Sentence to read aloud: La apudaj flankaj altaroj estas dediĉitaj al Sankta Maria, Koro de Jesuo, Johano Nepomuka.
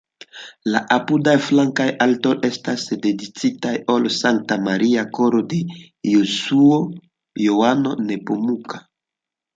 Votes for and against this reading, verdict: 2, 1, accepted